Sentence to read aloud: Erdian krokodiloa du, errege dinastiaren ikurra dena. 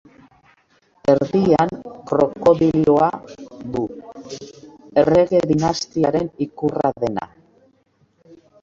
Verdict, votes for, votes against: rejected, 1, 2